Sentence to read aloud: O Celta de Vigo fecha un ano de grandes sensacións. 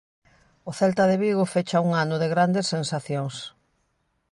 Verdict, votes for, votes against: accepted, 2, 0